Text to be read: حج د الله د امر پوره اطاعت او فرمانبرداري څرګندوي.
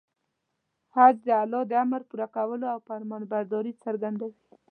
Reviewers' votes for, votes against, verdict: 1, 2, rejected